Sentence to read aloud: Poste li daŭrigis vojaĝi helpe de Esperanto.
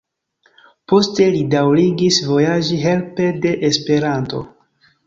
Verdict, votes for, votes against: rejected, 1, 2